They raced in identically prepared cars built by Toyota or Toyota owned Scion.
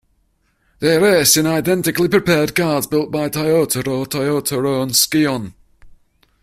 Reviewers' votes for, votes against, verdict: 1, 2, rejected